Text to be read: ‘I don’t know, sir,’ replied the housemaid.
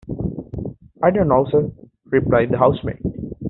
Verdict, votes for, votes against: accepted, 2, 0